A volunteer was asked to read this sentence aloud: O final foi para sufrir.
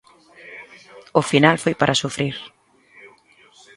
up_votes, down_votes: 2, 0